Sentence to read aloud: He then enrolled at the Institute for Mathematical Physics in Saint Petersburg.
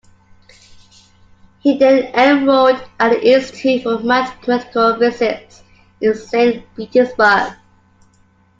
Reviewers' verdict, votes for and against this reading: rejected, 1, 2